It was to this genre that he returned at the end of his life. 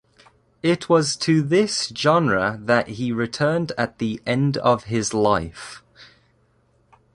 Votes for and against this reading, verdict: 2, 0, accepted